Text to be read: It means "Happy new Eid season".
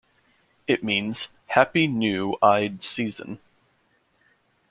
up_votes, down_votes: 0, 2